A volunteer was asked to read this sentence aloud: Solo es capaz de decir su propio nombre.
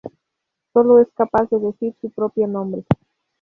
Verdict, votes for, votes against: rejected, 2, 2